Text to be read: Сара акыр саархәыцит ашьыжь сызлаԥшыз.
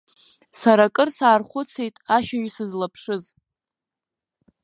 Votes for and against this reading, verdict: 1, 2, rejected